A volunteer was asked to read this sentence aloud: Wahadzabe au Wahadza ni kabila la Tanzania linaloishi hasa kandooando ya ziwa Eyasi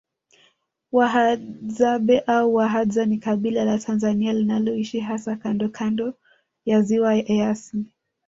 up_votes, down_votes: 1, 2